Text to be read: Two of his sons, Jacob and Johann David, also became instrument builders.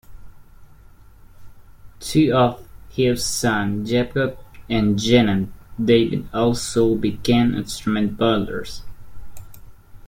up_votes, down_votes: 0, 2